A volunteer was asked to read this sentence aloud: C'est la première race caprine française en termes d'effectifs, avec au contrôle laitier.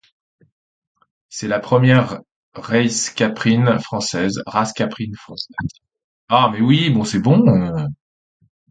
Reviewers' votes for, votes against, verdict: 0, 2, rejected